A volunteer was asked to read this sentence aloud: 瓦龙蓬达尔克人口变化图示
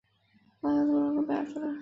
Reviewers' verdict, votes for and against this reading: rejected, 3, 4